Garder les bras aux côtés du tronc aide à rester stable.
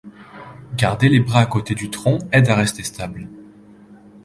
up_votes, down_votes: 2, 1